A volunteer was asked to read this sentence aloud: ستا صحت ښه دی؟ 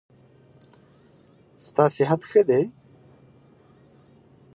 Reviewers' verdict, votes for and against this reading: accepted, 2, 0